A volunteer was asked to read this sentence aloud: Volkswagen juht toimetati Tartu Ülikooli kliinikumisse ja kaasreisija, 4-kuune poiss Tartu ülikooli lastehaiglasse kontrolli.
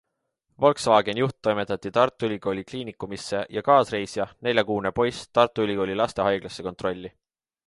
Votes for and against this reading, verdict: 0, 2, rejected